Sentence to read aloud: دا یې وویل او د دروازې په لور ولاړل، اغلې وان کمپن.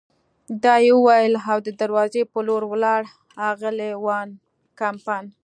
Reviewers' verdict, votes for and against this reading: accepted, 2, 0